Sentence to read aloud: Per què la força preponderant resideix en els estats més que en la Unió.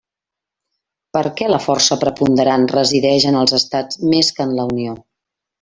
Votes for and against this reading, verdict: 3, 0, accepted